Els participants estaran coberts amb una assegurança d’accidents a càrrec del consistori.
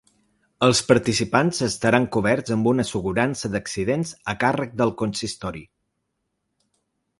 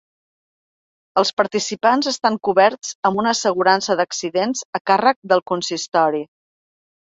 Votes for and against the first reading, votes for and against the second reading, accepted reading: 3, 0, 1, 2, first